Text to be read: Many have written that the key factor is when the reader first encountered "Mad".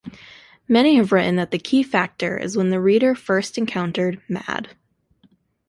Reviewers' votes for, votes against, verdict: 2, 0, accepted